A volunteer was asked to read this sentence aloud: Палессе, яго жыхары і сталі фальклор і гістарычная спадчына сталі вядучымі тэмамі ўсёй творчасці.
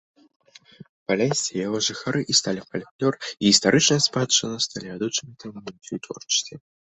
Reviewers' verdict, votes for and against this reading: rejected, 0, 2